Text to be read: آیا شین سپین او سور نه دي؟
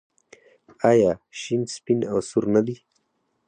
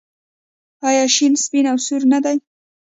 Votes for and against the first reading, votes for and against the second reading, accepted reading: 4, 0, 0, 2, first